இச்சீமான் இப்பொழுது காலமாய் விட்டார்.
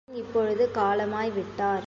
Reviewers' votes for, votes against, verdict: 2, 1, accepted